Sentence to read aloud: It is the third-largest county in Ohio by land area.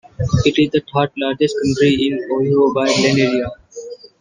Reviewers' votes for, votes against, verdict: 0, 3, rejected